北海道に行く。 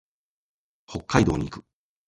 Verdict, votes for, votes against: accepted, 2, 0